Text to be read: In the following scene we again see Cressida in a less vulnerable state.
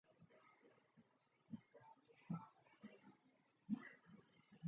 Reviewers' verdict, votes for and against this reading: rejected, 1, 2